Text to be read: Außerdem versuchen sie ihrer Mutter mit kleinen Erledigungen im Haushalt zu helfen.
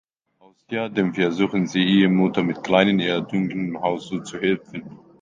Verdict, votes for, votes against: rejected, 0, 2